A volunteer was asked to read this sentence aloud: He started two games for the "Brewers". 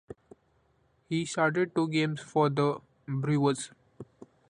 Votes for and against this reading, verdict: 2, 1, accepted